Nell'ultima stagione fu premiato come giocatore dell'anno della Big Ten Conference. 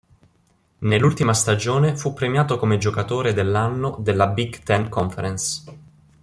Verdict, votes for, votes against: accepted, 2, 0